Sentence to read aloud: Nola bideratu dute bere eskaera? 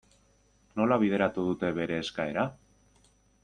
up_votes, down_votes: 2, 0